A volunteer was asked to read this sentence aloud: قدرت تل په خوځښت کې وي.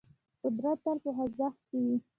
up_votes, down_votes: 2, 0